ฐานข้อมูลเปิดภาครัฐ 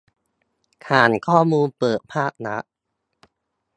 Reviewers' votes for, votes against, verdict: 2, 0, accepted